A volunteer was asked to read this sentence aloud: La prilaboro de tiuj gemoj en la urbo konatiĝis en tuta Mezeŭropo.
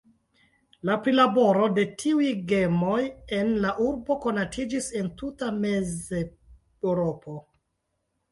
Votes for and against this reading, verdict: 2, 0, accepted